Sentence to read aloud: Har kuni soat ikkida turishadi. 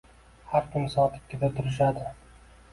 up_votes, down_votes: 1, 2